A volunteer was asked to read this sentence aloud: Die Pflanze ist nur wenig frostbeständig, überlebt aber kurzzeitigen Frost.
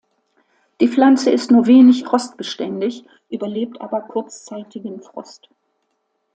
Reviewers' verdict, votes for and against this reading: accepted, 2, 0